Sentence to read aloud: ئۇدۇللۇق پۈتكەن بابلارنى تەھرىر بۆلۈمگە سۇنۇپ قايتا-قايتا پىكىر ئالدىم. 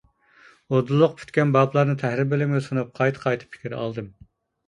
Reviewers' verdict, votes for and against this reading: accepted, 2, 1